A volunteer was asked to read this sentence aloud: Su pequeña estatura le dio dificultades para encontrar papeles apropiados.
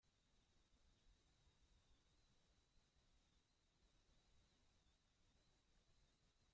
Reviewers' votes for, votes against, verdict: 0, 2, rejected